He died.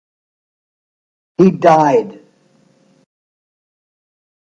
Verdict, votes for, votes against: accepted, 2, 1